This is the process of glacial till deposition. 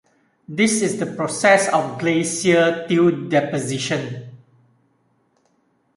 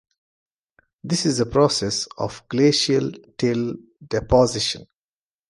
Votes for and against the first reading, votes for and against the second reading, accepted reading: 0, 2, 2, 0, second